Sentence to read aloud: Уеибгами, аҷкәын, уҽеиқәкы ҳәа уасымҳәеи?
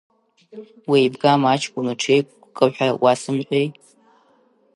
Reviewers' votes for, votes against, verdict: 1, 2, rejected